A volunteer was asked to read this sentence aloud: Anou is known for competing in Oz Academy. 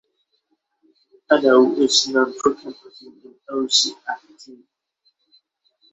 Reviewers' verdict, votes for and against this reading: rejected, 0, 6